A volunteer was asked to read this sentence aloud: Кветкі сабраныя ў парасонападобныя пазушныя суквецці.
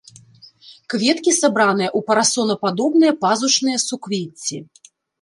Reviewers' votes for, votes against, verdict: 2, 0, accepted